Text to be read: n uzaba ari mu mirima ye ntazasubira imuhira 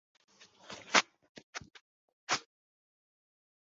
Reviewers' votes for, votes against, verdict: 1, 2, rejected